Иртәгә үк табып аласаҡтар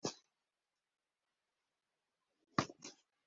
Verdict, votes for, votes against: rejected, 1, 2